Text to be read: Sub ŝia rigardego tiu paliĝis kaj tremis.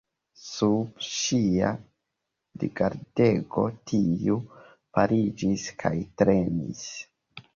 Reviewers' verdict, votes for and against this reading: accepted, 2, 1